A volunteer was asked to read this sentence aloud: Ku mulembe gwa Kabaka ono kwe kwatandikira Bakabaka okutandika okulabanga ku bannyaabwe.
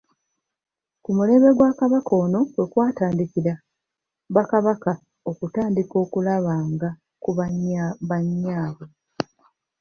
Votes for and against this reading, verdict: 1, 3, rejected